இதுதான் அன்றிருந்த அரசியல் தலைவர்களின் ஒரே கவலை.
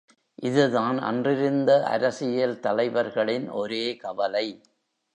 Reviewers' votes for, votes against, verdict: 2, 0, accepted